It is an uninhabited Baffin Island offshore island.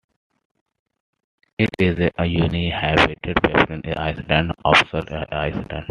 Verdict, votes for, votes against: rejected, 0, 2